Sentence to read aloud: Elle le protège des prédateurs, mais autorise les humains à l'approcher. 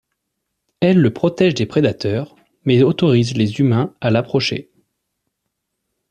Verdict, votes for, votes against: accepted, 2, 0